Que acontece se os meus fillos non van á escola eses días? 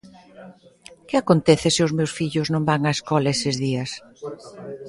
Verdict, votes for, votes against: accepted, 2, 0